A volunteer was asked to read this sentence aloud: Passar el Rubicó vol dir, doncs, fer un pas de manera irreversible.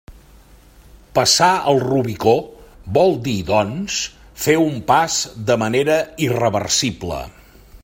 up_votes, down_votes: 3, 0